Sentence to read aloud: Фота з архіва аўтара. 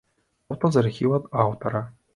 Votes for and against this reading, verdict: 0, 2, rejected